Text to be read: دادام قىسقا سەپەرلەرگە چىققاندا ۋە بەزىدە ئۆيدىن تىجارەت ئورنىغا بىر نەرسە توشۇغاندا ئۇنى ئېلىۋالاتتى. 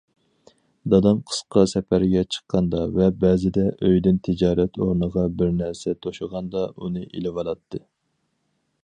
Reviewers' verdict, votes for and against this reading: rejected, 0, 4